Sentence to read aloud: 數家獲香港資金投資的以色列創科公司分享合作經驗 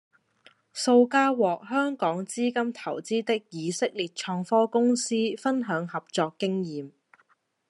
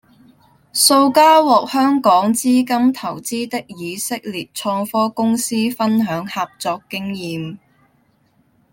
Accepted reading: first